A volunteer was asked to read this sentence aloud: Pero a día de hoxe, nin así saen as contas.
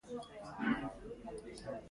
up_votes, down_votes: 0, 3